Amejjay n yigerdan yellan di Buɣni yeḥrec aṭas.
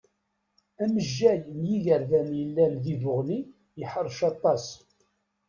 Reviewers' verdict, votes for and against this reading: accepted, 2, 0